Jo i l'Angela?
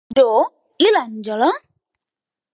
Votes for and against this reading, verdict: 0, 2, rejected